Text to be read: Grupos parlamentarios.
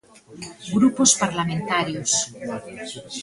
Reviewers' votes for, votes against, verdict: 2, 0, accepted